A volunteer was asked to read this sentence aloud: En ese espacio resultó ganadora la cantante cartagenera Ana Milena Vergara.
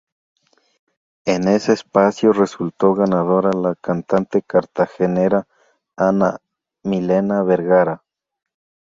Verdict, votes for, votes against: rejected, 2, 2